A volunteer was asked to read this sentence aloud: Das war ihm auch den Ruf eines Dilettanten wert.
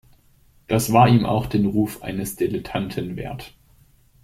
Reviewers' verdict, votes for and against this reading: accepted, 2, 0